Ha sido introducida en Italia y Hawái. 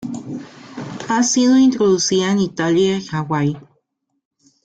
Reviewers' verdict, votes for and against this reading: accepted, 2, 0